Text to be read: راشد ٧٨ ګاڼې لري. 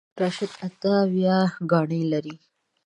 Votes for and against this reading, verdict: 0, 2, rejected